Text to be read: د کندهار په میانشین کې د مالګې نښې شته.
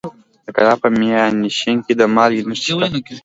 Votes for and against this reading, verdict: 2, 1, accepted